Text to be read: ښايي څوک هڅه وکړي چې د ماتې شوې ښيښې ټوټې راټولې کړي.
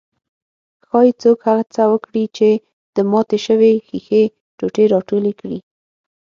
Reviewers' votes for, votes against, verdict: 6, 0, accepted